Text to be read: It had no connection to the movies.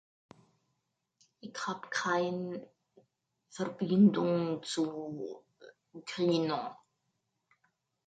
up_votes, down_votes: 0, 2